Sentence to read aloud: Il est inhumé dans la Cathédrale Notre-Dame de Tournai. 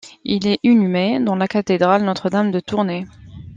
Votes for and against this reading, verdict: 1, 2, rejected